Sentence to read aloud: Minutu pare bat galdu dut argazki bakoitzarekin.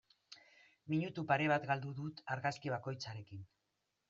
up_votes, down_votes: 2, 0